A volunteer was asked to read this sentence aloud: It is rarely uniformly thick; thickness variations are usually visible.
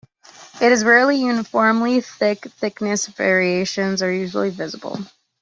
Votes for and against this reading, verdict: 2, 0, accepted